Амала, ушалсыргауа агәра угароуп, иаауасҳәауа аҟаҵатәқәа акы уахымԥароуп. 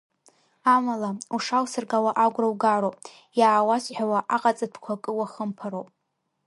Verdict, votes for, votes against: rejected, 0, 2